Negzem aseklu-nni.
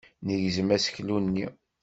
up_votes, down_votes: 2, 0